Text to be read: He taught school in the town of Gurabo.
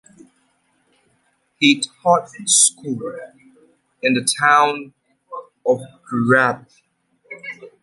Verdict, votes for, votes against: rejected, 0, 2